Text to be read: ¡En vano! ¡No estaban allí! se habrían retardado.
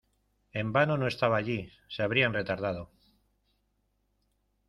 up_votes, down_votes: 0, 2